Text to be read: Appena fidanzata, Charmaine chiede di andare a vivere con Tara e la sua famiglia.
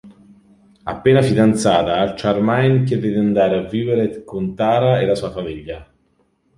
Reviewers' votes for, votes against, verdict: 0, 2, rejected